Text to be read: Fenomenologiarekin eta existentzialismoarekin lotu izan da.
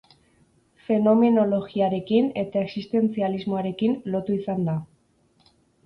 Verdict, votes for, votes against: accepted, 6, 0